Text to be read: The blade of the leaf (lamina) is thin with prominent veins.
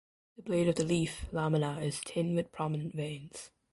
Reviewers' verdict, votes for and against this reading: accepted, 2, 1